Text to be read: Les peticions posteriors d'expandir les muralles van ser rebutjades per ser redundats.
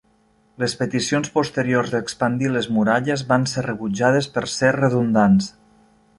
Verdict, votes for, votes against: accepted, 2, 0